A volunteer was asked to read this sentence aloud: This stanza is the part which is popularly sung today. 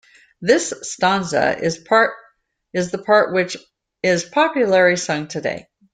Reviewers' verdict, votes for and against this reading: rejected, 0, 2